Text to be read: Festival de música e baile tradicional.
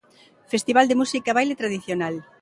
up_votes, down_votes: 2, 0